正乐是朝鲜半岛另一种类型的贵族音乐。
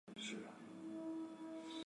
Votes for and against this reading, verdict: 0, 2, rejected